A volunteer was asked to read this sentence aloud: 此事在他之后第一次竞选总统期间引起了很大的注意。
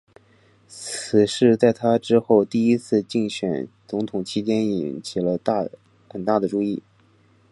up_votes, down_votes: 4, 0